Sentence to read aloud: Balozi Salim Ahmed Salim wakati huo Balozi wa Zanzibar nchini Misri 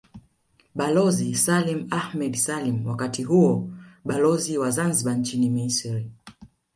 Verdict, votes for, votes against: accepted, 2, 0